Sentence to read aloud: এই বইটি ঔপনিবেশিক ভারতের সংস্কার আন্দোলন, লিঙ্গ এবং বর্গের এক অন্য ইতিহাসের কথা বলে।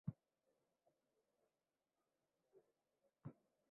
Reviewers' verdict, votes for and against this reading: rejected, 0, 4